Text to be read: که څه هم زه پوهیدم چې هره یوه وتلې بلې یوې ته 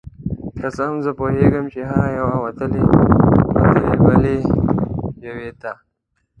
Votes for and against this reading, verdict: 0, 2, rejected